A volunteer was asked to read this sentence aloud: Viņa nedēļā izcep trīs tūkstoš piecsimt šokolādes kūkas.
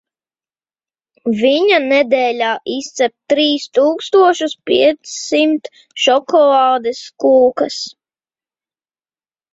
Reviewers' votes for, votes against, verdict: 0, 2, rejected